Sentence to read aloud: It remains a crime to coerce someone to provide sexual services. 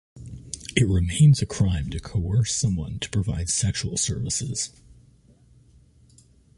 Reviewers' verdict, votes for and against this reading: accepted, 2, 0